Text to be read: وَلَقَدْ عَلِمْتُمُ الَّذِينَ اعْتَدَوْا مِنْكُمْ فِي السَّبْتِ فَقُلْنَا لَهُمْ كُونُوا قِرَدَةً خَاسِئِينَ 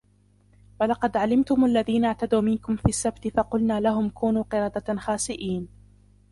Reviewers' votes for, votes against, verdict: 0, 2, rejected